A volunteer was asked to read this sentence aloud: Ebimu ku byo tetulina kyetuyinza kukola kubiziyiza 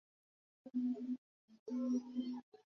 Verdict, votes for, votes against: rejected, 0, 2